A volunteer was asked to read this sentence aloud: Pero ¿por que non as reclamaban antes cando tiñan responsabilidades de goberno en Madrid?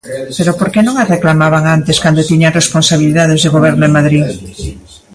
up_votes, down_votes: 1, 2